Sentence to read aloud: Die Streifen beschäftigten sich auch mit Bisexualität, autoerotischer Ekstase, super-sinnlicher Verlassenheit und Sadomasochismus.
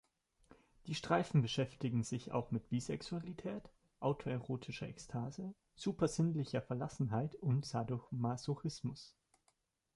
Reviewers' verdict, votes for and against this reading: rejected, 1, 2